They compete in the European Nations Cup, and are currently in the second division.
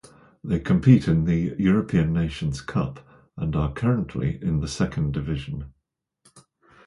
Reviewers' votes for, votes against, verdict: 2, 0, accepted